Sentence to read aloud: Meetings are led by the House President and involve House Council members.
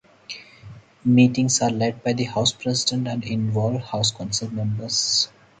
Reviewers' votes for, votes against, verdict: 2, 0, accepted